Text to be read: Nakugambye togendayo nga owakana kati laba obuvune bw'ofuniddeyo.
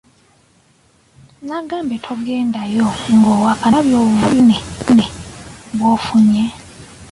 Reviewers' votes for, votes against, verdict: 0, 2, rejected